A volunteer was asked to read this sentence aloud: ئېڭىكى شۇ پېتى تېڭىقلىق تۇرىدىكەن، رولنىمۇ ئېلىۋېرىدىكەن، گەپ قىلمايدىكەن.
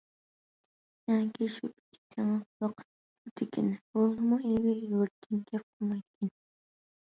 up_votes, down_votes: 0, 2